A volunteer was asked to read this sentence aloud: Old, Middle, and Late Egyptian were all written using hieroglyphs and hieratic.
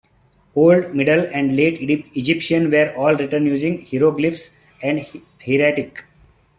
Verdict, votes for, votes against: accepted, 2, 1